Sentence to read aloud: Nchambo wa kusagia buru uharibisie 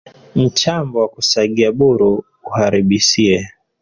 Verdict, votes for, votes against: rejected, 0, 2